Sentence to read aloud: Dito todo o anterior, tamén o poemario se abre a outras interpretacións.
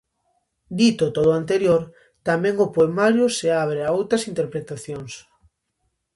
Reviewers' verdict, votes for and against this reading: accepted, 2, 0